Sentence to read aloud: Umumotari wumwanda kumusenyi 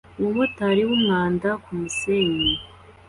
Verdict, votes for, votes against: accepted, 2, 0